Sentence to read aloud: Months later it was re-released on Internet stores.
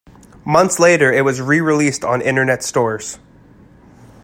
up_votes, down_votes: 2, 0